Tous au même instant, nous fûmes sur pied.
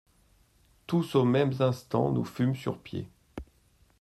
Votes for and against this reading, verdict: 0, 2, rejected